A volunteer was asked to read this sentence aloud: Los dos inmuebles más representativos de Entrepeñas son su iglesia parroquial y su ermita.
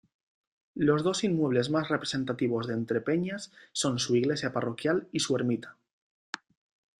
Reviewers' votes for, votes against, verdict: 2, 0, accepted